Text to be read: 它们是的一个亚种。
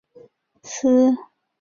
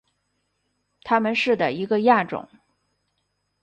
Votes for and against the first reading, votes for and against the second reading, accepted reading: 1, 4, 2, 0, second